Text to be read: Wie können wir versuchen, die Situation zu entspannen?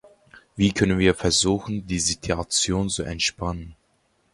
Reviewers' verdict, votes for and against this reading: accepted, 2, 0